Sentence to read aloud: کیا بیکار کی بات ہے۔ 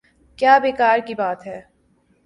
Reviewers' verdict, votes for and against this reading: accepted, 4, 0